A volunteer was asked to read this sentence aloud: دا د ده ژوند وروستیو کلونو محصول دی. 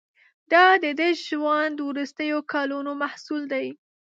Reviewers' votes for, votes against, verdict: 2, 0, accepted